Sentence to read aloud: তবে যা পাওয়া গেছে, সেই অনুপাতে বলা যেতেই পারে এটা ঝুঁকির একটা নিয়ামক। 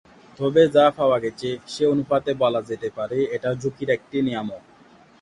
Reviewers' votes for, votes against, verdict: 0, 2, rejected